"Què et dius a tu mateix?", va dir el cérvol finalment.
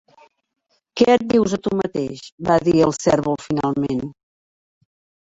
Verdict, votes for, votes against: rejected, 0, 2